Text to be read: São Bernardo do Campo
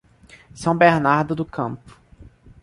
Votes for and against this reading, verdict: 2, 0, accepted